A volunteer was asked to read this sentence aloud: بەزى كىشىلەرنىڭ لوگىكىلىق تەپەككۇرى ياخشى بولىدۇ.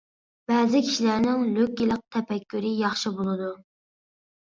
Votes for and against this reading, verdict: 0, 2, rejected